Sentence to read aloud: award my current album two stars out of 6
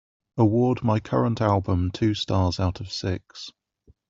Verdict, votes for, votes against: rejected, 0, 2